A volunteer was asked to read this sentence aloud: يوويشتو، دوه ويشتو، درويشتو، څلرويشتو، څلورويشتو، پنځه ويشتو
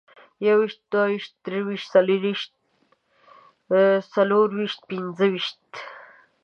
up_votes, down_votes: 2, 0